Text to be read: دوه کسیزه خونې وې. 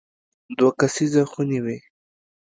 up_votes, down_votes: 2, 0